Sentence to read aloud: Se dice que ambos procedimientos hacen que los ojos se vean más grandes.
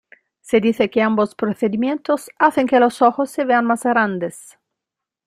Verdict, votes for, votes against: accepted, 2, 0